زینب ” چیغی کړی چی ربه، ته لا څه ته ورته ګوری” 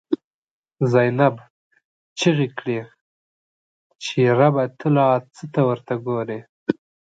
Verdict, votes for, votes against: accepted, 2, 0